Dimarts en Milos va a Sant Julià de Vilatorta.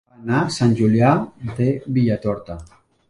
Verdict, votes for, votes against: rejected, 0, 2